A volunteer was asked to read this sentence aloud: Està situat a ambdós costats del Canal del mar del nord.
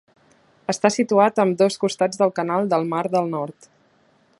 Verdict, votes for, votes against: accepted, 2, 0